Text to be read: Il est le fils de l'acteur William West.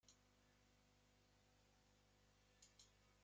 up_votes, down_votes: 0, 2